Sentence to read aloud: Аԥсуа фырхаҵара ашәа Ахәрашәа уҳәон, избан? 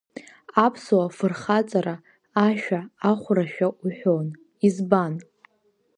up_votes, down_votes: 3, 0